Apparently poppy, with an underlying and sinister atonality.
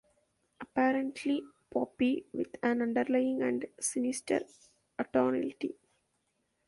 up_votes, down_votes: 1, 2